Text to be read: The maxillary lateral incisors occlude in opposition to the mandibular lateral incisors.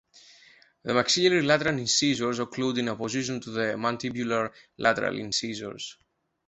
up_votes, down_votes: 1, 2